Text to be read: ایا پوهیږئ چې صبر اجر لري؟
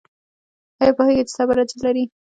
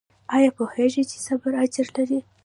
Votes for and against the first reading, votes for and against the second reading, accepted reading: 0, 2, 2, 0, second